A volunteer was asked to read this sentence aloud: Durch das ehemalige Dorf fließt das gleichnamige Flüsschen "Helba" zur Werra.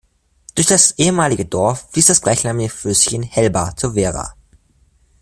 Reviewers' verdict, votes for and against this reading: rejected, 1, 2